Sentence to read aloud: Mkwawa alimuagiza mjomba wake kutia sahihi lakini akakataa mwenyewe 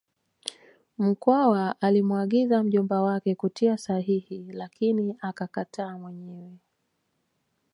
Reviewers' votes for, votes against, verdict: 1, 2, rejected